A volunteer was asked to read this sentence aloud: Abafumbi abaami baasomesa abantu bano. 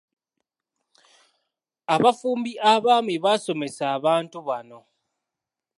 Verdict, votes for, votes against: accepted, 2, 0